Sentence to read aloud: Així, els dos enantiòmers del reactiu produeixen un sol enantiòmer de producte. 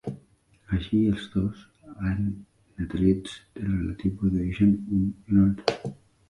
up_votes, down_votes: 0, 2